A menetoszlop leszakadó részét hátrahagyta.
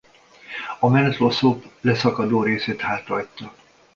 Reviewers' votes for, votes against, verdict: 1, 2, rejected